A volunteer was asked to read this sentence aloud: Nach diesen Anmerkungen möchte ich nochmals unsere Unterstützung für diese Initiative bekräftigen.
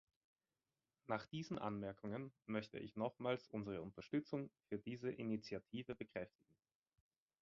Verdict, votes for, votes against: accepted, 2, 0